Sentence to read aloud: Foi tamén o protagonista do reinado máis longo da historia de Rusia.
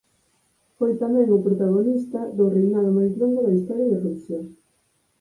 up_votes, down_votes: 0, 4